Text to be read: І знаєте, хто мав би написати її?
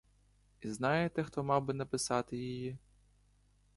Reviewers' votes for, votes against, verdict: 2, 0, accepted